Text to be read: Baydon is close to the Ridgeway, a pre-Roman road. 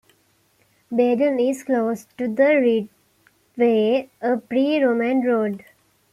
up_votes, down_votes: 1, 2